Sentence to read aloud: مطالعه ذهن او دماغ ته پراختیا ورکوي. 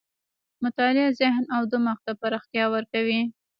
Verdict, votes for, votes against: rejected, 1, 2